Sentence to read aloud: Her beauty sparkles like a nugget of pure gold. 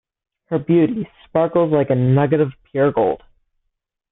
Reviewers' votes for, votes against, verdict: 2, 1, accepted